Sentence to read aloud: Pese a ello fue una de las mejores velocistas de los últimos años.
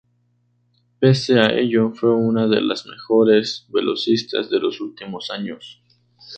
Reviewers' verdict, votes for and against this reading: accepted, 2, 0